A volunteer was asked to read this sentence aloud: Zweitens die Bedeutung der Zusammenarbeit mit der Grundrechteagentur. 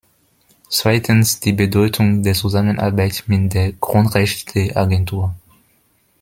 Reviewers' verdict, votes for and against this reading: accepted, 2, 0